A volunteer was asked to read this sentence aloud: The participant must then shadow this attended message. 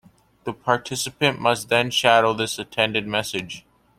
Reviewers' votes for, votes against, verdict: 2, 0, accepted